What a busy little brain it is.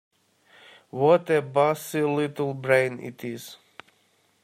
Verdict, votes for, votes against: rejected, 0, 2